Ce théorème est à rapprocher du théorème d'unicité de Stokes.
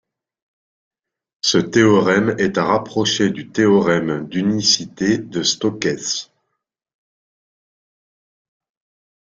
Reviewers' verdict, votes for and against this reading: accepted, 2, 0